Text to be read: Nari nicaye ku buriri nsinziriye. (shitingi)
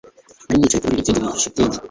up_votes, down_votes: 1, 2